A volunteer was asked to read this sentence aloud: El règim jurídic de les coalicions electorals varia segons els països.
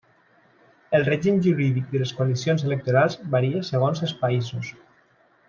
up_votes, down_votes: 2, 0